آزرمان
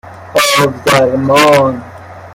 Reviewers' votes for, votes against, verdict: 1, 2, rejected